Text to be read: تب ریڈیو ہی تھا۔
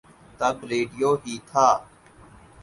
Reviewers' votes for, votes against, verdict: 8, 2, accepted